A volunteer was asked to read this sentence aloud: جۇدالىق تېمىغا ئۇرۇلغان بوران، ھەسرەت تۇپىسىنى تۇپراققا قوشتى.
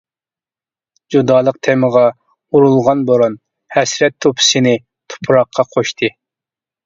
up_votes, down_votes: 2, 0